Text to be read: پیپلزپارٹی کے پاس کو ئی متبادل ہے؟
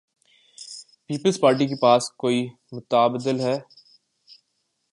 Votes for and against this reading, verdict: 2, 0, accepted